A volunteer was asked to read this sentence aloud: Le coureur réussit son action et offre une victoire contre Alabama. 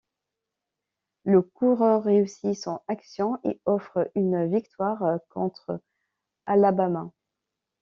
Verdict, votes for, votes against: rejected, 1, 2